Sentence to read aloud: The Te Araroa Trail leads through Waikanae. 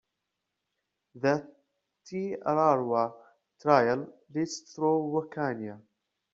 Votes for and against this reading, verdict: 1, 2, rejected